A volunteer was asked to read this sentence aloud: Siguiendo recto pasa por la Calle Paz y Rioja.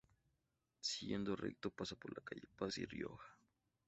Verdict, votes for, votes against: rejected, 0, 2